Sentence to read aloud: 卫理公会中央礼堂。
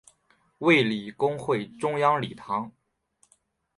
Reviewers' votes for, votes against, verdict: 2, 0, accepted